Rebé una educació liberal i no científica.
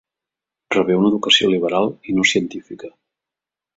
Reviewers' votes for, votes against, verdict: 3, 0, accepted